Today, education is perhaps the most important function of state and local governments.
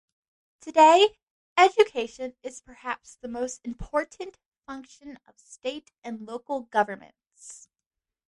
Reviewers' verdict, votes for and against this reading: accepted, 2, 0